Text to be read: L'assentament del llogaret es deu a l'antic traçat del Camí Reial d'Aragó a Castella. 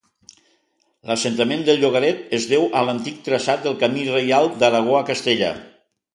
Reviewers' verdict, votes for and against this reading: accepted, 2, 0